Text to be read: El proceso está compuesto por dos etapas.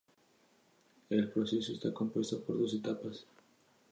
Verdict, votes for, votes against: accepted, 4, 2